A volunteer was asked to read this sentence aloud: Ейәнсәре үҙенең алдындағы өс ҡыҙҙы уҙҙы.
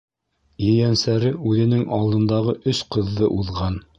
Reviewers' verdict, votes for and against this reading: rejected, 1, 2